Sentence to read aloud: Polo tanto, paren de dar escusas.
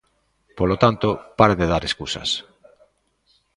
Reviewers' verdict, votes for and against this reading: rejected, 1, 2